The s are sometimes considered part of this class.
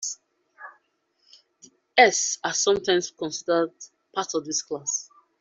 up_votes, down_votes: 1, 2